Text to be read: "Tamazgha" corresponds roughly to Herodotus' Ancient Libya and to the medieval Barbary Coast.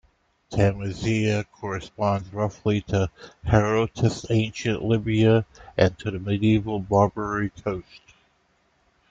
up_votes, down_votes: 0, 2